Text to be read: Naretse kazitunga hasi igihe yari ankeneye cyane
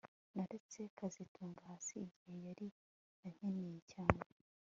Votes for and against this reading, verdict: 3, 0, accepted